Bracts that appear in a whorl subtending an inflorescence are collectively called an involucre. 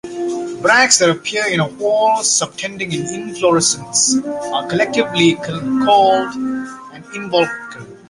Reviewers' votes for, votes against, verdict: 1, 2, rejected